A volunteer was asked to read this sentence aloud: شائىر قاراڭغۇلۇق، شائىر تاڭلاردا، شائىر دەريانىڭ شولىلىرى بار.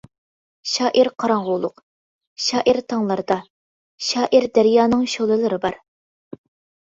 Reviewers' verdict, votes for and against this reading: accepted, 2, 0